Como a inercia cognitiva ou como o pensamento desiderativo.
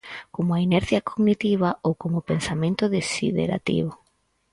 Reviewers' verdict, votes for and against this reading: accepted, 4, 0